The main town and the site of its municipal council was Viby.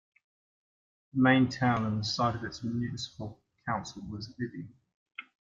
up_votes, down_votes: 1, 2